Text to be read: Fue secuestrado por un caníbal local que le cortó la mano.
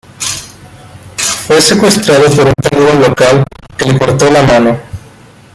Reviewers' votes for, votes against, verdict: 2, 0, accepted